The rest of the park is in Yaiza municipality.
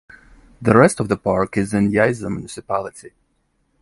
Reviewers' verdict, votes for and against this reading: rejected, 1, 2